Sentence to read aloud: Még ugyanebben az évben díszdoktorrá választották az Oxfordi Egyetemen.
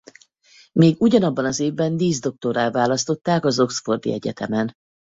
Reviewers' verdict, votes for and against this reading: rejected, 2, 2